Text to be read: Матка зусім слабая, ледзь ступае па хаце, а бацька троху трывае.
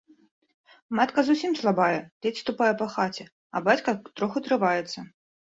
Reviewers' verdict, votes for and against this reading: rejected, 0, 2